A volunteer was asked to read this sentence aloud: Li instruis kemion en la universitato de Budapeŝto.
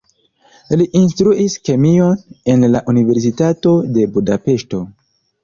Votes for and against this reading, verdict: 2, 0, accepted